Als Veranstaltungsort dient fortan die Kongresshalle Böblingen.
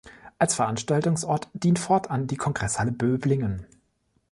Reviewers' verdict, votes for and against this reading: accepted, 2, 0